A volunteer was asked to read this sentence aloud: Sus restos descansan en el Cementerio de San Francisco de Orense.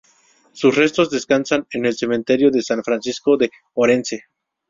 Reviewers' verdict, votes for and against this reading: rejected, 0, 2